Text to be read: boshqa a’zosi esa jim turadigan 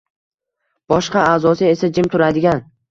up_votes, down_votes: 2, 1